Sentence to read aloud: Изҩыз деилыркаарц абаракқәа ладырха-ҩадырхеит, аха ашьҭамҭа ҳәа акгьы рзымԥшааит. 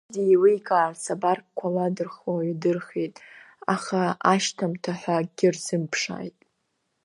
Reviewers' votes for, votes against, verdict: 1, 2, rejected